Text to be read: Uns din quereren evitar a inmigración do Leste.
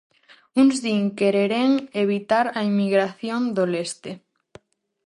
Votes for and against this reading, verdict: 0, 4, rejected